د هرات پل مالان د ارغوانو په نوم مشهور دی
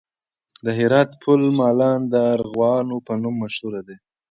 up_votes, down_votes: 2, 1